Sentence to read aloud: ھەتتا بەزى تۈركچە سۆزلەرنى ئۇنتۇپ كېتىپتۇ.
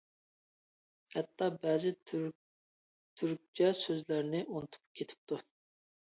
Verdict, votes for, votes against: rejected, 1, 2